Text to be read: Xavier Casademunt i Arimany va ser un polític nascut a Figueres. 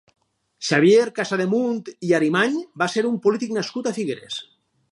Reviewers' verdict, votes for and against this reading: accepted, 4, 0